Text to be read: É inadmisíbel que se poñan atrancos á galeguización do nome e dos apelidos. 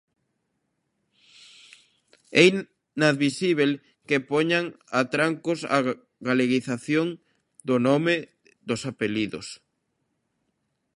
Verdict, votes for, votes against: rejected, 0, 2